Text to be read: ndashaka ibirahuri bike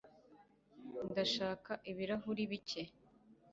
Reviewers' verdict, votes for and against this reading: accepted, 2, 0